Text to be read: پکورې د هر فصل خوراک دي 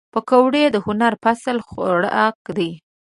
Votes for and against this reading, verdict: 0, 2, rejected